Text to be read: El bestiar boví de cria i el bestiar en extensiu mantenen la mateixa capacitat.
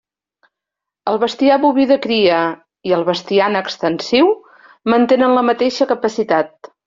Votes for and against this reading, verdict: 3, 0, accepted